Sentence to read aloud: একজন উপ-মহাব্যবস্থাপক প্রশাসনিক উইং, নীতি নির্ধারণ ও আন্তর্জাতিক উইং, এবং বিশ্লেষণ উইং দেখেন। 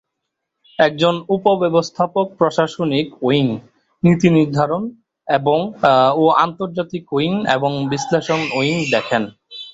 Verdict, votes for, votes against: rejected, 1, 2